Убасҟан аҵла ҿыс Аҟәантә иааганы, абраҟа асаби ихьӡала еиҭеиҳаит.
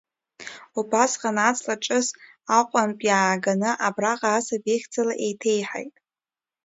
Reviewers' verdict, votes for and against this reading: accepted, 2, 0